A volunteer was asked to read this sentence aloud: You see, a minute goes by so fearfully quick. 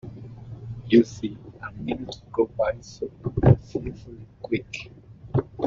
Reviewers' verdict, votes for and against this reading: rejected, 0, 2